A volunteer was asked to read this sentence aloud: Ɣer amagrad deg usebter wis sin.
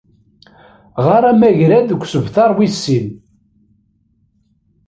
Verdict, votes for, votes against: rejected, 0, 2